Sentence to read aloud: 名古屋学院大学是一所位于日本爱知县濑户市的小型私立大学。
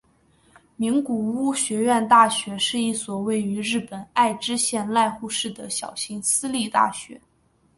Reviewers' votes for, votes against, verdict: 2, 1, accepted